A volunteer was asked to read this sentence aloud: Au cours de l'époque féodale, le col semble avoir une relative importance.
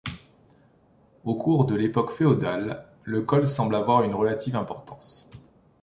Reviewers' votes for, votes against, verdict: 2, 0, accepted